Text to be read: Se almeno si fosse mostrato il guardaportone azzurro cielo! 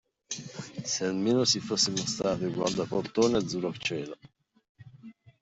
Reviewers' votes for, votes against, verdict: 2, 1, accepted